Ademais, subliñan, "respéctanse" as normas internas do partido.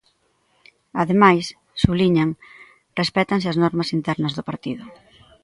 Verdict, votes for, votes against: accepted, 2, 0